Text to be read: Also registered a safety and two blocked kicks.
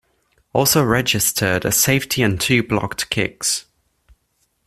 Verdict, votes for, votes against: accepted, 2, 0